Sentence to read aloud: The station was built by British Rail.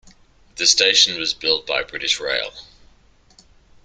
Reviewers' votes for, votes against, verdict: 2, 0, accepted